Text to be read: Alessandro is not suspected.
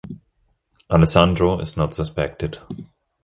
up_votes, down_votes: 2, 0